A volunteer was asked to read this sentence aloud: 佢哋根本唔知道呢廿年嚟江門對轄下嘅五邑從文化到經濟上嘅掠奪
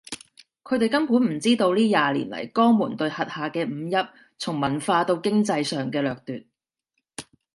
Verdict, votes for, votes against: accepted, 2, 0